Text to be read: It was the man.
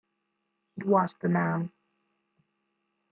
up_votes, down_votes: 1, 2